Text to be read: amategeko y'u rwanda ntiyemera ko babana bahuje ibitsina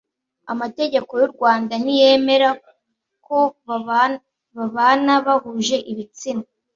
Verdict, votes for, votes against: rejected, 0, 2